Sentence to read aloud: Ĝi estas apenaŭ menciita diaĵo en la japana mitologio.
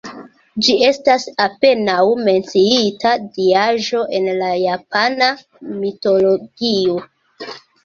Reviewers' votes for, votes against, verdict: 2, 1, accepted